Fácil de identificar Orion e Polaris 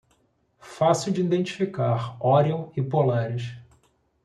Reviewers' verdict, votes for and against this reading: accepted, 2, 0